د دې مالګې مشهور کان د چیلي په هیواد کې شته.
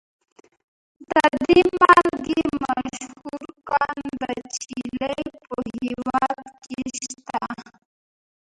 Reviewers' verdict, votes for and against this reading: rejected, 0, 3